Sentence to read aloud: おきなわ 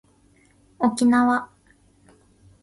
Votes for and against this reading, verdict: 1, 2, rejected